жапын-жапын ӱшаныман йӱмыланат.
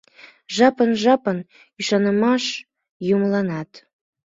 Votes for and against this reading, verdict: 2, 5, rejected